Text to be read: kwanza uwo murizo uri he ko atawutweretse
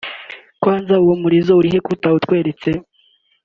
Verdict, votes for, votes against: accepted, 2, 0